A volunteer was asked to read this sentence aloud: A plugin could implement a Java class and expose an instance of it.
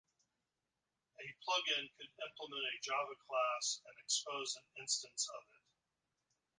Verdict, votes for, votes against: rejected, 0, 2